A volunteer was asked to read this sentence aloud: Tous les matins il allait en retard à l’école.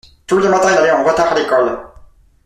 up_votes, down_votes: 0, 2